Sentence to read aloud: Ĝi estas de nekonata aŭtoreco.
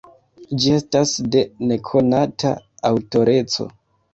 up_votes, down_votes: 1, 2